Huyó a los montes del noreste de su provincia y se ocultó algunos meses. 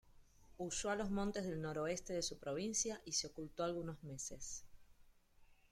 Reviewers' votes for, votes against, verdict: 1, 2, rejected